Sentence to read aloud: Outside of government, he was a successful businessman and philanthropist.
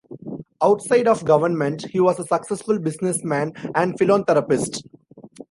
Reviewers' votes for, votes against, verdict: 2, 0, accepted